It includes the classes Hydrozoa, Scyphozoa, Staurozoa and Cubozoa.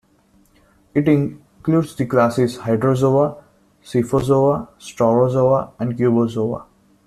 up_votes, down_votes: 2, 0